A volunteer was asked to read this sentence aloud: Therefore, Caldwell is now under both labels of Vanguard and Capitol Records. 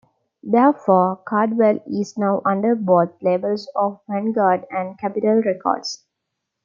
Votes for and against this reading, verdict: 2, 1, accepted